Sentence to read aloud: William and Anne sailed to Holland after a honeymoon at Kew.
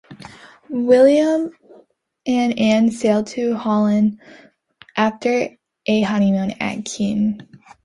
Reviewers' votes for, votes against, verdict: 1, 2, rejected